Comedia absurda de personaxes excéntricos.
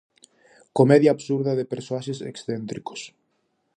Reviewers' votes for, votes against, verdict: 0, 4, rejected